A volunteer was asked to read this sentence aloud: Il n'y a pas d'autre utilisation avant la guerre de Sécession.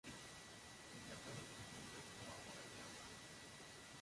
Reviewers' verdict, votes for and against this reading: rejected, 0, 2